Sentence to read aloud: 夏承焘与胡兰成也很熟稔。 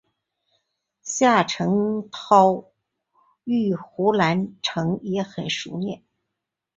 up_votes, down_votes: 2, 2